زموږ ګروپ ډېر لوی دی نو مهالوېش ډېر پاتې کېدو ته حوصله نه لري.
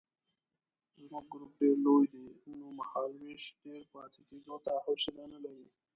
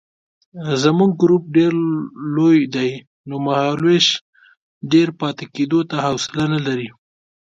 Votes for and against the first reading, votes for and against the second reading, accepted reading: 0, 2, 2, 0, second